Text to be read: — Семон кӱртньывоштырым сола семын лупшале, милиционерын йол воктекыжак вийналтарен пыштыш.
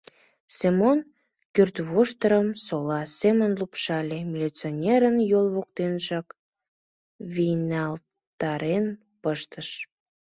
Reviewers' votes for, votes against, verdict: 0, 2, rejected